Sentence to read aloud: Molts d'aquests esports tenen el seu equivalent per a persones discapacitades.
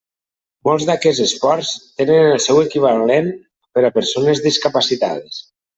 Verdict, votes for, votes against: rejected, 0, 2